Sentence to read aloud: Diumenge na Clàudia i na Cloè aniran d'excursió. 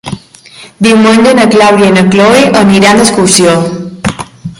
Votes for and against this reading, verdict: 1, 2, rejected